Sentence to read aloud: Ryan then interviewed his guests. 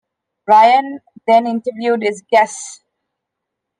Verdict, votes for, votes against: rejected, 1, 2